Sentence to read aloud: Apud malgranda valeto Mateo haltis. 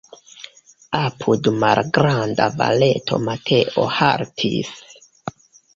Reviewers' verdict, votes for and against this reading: accepted, 2, 1